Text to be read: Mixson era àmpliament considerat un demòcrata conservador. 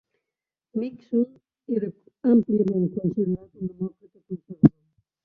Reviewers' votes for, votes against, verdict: 0, 2, rejected